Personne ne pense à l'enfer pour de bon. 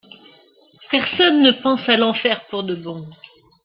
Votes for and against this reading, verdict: 2, 0, accepted